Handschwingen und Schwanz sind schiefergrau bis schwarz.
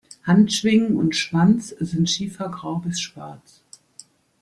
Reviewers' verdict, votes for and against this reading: accepted, 2, 0